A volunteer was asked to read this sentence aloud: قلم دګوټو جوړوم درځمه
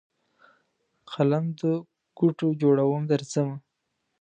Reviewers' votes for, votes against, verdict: 1, 2, rejected